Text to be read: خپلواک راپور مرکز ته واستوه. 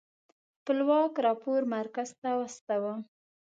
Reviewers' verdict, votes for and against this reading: accepted, 2, 0